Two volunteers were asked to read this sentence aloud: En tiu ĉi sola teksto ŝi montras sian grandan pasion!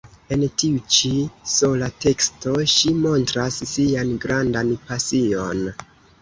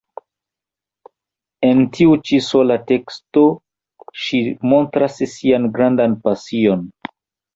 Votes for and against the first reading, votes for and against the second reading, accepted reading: 2, 0, 1, 2, first